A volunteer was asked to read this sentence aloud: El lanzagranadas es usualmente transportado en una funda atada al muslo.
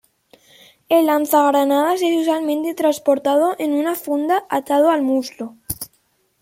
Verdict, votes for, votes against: rejected, 1, 2